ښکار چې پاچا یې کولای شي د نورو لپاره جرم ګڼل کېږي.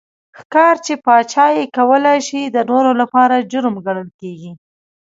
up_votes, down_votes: 2, 1